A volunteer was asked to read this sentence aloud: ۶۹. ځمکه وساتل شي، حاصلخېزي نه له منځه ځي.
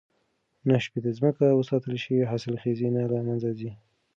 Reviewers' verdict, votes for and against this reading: rejected, 0, 2